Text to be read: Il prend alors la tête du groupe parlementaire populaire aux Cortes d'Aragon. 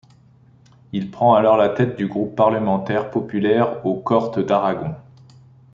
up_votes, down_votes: 1, 2